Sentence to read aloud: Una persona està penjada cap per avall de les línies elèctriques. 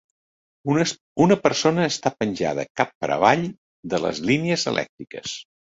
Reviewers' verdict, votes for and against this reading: rejected, 1, 2